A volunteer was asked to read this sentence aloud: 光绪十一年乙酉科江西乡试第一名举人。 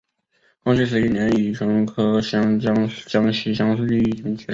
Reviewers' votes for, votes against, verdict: 3, 0, accepted